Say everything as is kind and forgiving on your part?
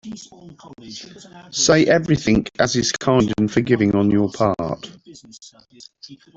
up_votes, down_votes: 0, 2